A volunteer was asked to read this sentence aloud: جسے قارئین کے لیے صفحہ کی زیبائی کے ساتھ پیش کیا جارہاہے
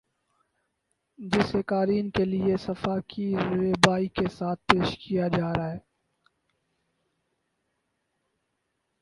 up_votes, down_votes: 4, 2